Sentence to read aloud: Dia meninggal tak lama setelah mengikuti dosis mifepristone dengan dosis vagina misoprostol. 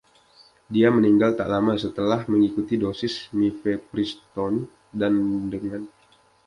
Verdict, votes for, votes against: rejected, 0, 2